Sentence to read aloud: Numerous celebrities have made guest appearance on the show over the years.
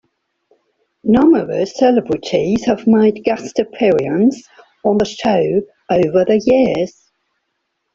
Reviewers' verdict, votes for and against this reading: accepted, 2, 1